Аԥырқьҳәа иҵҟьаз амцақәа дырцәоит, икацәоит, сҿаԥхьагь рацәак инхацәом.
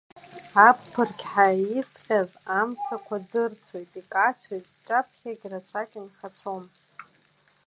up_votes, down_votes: 2, 1